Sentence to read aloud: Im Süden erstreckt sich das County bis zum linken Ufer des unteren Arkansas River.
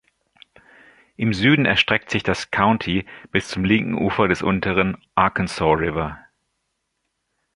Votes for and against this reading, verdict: 2, 0, accepted